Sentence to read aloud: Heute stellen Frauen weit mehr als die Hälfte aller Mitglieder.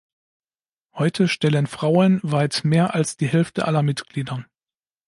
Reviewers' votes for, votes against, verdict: 2, 0, accepted